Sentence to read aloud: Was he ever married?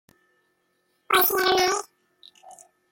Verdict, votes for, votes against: rejected, 0, 2